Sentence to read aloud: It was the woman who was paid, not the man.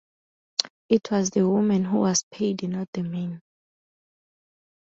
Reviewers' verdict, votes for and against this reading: accepted, 2, 0